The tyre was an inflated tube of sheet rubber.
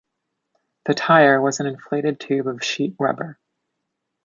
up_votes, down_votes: 2, 0